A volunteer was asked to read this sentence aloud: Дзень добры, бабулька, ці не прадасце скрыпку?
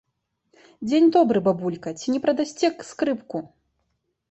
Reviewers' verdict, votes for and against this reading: rejected, 1, 2